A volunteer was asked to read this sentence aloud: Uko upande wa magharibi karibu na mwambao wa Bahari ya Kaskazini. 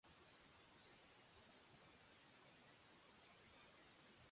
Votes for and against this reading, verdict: 0, 2, rejected